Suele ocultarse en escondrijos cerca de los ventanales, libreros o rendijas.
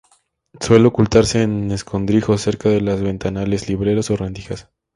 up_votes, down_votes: 0, 2